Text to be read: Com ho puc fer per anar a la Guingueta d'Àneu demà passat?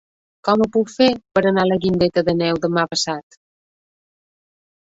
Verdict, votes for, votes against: rejected, 0, 2